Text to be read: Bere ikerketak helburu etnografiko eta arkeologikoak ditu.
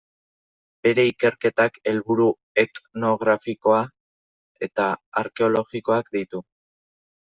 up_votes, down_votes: 0, 2